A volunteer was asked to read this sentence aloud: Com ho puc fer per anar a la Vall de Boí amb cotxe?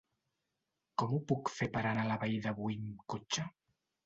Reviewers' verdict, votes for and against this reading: rejected, 1, 2